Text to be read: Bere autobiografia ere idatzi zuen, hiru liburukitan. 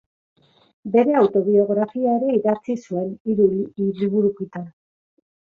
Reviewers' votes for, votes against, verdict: 0, 2, rejected